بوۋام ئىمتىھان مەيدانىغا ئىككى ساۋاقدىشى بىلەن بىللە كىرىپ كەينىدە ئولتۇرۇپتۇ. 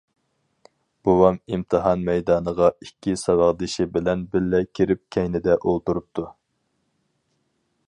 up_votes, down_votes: 6, 0